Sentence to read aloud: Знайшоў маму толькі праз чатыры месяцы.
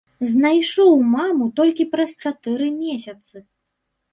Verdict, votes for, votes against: accepted, 3, 0